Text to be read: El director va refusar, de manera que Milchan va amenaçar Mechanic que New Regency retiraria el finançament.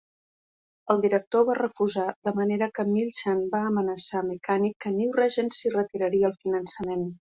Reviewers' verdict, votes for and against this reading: accepted, 2, 0